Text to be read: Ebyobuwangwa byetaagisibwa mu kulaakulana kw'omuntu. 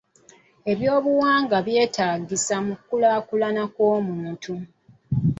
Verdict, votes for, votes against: rejected, 0, 2